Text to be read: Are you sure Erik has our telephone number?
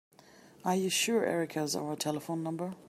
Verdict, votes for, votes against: accepted, 2, 1